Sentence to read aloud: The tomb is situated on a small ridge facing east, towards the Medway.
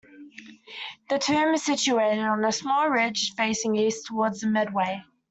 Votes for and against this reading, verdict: 2, 0, accepted